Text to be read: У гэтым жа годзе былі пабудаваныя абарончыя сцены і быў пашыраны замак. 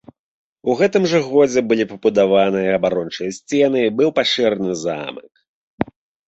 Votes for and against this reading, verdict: 2, 1, accepted